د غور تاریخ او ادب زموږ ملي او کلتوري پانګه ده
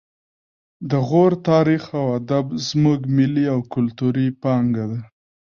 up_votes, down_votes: 0, 2